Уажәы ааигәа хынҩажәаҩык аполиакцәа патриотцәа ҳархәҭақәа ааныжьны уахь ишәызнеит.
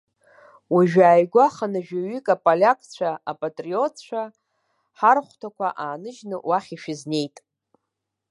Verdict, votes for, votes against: rejected, 0, 2